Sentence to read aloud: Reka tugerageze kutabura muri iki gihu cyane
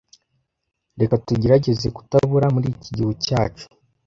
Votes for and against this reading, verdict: 0, 2, rejected